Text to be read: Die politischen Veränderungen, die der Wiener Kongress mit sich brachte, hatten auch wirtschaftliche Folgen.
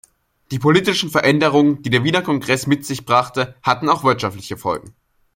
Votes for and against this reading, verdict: 2, 0, accepted